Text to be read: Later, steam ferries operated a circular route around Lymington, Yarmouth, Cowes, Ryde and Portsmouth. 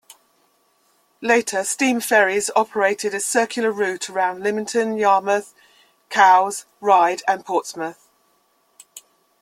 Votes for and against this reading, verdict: 2, 0, accepted